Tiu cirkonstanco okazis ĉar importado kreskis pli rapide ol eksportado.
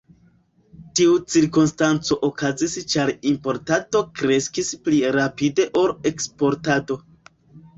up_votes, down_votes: 2, 0